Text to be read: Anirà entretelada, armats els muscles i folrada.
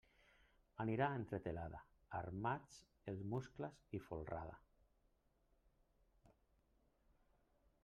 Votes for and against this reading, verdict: 1, 2, rejected